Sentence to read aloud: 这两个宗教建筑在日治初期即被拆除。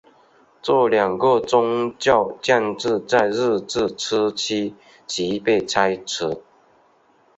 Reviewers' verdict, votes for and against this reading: accepted, 3, 1